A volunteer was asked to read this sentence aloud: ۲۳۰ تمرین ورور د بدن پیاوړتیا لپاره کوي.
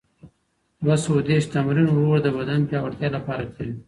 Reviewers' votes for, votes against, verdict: 0, 2, rejected